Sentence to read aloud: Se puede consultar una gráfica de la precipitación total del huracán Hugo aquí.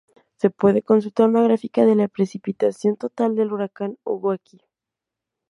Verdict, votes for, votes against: rejected, 2, 2